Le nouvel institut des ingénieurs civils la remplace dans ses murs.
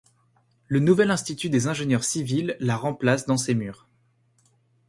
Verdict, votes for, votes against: accepted, 2, 0